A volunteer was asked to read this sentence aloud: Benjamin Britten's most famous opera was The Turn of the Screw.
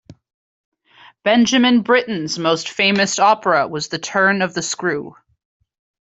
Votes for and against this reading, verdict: 2, 0, accepted